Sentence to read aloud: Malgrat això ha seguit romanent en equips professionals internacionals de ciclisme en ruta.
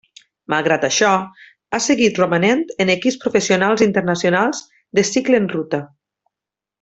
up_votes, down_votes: 1, 2